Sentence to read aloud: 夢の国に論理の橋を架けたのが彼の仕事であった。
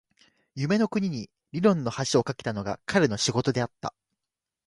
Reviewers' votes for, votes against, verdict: 2, 0, accepted